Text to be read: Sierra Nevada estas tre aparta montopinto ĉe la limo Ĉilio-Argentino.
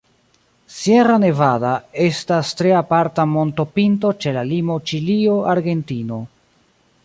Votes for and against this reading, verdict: 0, 2, rejected